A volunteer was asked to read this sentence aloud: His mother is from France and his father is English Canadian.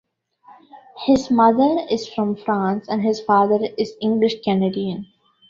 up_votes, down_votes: 2, 1